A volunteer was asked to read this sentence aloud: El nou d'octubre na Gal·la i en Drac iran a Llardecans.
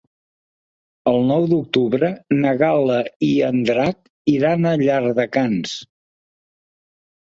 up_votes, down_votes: 3, 0